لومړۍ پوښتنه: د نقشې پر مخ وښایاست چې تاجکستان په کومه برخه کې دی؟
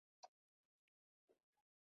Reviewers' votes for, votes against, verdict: 3, 1, accepted